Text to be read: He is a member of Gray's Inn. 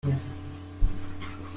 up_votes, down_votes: 0, 2